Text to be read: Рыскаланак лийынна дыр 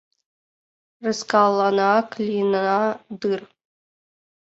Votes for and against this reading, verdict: 1, 2, rejected